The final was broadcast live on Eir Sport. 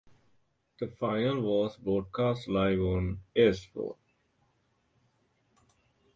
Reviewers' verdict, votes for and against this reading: rejected, 2, 2